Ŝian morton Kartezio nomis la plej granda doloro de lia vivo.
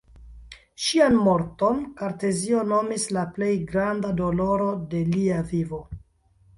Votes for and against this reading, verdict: 2, 0, accepted